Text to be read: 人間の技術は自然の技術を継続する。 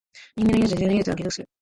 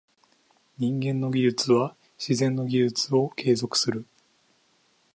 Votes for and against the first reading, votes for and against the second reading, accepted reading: 3, 6, 2, 0, second